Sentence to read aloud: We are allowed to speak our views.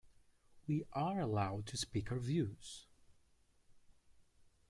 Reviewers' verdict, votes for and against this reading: rejected, 0, 2